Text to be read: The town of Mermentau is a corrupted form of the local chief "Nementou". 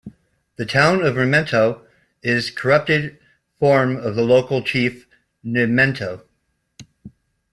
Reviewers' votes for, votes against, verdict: 2, 0, accepted